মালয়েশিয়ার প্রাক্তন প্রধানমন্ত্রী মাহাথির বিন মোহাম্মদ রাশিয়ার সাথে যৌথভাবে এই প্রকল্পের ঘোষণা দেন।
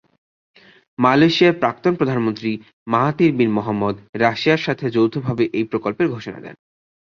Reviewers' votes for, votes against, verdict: 2, 0, accepted